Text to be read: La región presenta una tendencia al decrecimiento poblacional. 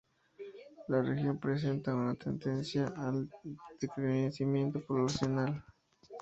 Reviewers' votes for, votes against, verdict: 2, 0, accepted